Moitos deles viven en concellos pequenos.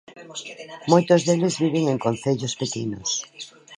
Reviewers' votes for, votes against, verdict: 1, 2, rejected